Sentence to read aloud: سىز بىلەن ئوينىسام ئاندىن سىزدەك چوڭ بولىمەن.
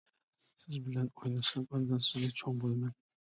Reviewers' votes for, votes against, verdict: 0, 2, rejected